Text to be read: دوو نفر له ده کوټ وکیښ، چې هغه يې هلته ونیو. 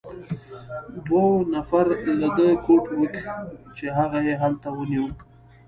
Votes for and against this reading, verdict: 0, 2, rejected